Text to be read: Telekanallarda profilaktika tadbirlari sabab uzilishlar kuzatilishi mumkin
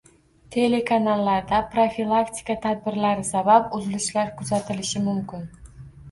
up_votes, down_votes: 2, 0